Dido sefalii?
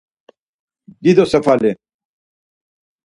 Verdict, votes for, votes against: rejected, 2, 4